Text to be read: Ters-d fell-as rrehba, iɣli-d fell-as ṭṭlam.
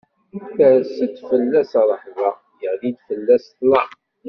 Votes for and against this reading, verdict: 1, 2, rejected